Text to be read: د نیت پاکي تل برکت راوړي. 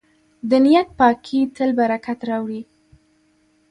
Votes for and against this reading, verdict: 3, 0, accepted